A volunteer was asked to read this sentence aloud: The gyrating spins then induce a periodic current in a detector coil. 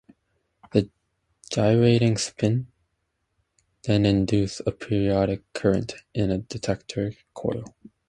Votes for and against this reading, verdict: 2, 0, accepted